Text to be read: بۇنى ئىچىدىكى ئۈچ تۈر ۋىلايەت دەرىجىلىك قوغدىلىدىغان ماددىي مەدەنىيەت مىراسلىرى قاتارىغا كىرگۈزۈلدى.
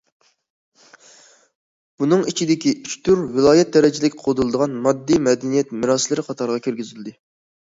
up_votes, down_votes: 1, 2